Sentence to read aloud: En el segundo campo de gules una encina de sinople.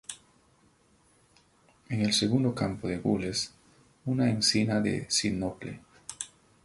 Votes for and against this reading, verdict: 4, 0, accepted